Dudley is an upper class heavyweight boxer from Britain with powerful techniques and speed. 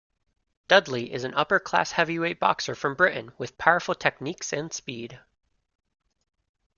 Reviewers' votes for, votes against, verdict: 2, 0, accepted